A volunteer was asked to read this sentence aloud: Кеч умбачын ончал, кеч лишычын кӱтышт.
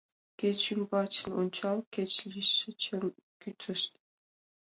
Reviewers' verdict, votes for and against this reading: accepted, 2, 0